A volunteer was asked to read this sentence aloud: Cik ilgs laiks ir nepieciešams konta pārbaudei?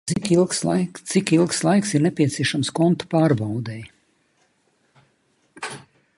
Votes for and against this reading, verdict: 0, 3, rejected